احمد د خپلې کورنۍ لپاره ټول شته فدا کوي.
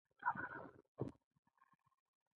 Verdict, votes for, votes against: rejected, 1, 2